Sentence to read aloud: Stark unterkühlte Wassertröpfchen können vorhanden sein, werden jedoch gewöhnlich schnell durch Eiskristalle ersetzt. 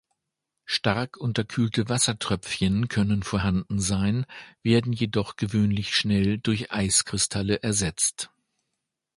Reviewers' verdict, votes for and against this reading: accepted, 2, 0